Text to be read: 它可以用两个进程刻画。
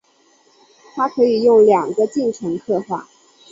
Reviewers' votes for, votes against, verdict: 2, 0, accepted